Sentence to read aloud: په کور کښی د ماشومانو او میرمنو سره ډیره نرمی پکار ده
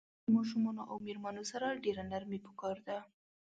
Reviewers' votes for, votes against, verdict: 0, 2, rejected